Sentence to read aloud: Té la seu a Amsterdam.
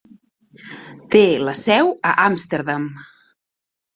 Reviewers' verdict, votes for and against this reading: accepted, 2, 0